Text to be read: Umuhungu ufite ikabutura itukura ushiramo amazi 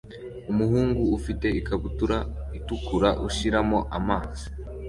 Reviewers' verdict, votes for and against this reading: accepted, 2, 0